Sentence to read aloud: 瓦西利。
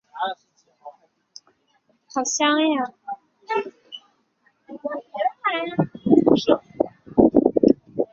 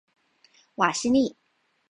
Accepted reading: second